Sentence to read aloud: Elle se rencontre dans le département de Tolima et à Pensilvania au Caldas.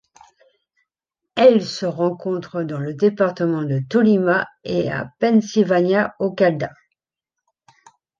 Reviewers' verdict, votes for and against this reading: accepted, 2, 1